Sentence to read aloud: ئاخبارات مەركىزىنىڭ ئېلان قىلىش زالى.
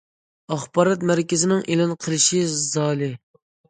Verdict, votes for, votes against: rejected, 0, 2